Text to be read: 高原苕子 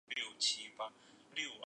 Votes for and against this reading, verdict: 0, 3, rejected